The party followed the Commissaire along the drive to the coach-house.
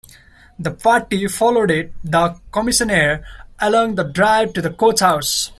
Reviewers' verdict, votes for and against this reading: rejected, 0, 2